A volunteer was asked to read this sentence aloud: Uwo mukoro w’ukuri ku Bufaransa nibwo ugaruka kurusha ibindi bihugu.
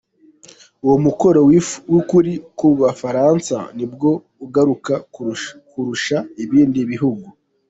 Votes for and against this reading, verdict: 1, 2, rejected